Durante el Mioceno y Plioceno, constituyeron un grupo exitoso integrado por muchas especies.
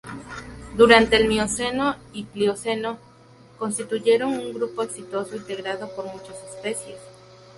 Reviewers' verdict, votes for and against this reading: rejected, 0, 2